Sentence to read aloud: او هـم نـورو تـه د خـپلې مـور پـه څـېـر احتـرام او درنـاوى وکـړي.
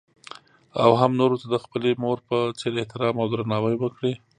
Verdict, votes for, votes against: accepted, 2, 0